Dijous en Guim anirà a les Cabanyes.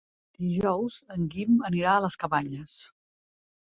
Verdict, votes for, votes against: accepted, 2, 0